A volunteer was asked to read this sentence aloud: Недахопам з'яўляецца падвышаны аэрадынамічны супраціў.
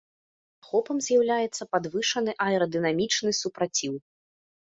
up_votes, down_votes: 1, 2